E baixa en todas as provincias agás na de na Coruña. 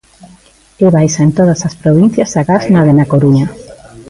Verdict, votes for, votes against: rejected, 1, 2